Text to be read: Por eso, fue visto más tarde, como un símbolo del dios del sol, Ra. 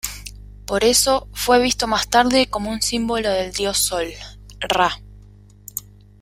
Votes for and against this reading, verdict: 1, 2, rejected